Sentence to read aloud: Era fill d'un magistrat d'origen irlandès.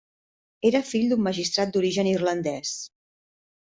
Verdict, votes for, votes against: accepted, 3, 0